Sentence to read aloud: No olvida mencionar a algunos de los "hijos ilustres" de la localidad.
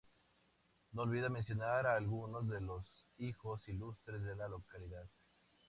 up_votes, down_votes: 2, 0